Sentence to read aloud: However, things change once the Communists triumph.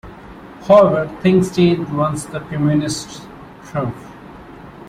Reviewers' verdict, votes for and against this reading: rejected, 1, 2